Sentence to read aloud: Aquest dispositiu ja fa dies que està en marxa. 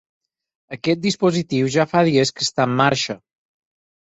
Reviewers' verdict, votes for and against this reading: accepted, 6, 0